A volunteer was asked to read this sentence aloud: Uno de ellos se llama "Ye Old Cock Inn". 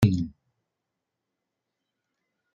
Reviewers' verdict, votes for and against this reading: rejected, 0, 2